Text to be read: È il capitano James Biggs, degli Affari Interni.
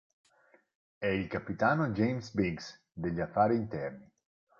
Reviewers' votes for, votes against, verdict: 4, 0, accepted